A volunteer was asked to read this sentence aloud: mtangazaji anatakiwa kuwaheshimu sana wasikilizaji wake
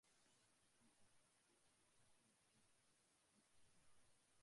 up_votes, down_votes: 2, 1